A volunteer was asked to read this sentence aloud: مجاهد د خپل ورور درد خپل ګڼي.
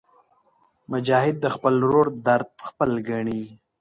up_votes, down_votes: 2, 1